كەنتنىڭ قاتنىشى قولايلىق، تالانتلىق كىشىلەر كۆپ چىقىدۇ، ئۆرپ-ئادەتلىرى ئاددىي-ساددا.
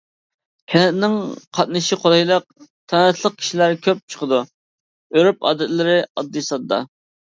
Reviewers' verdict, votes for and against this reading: accepted, 2, 0